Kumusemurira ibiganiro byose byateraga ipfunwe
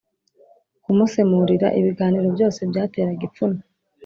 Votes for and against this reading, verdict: 3, 0, accepted